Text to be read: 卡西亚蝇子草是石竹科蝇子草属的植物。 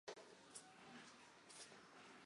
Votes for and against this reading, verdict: 0, 2, rejected